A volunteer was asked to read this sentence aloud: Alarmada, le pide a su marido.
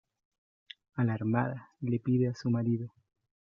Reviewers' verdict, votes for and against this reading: rejected, 1, 2